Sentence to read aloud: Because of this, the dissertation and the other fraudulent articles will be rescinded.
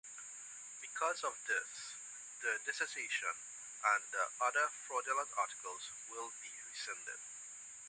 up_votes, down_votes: 0, 2